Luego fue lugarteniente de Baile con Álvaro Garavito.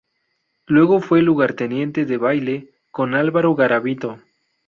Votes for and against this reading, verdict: 2, 0, accepted